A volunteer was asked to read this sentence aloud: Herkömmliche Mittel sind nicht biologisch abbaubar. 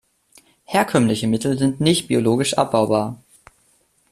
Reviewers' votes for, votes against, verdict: 2, 0, accepted